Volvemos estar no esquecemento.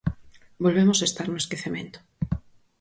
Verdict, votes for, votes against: accepted, 4, 0